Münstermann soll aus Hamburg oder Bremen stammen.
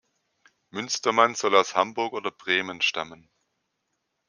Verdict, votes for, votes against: accepted, 2, 0